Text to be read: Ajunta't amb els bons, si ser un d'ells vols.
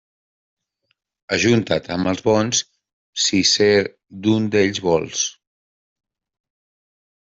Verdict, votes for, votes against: rejected, 1, 2